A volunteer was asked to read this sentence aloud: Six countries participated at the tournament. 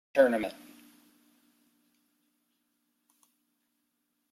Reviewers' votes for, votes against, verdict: 1, 2, rejected